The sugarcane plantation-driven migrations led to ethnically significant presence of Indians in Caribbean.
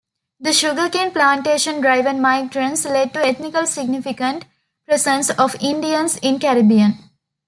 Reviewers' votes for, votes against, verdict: 0, 2, rejected